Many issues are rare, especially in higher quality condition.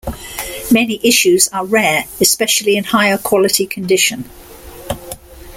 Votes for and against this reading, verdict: 2, 0, accepted